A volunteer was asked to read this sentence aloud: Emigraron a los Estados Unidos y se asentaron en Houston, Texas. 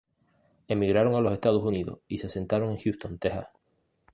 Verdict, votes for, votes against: accepted, 2, 0